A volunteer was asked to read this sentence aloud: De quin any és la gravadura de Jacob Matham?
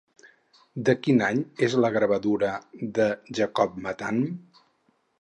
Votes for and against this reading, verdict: 4, 0, accepted